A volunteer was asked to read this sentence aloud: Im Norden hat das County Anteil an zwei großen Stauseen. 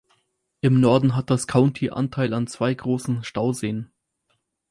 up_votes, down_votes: 4, 0